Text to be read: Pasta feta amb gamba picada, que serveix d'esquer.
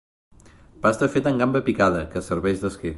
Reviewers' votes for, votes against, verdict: 2, 0, accepted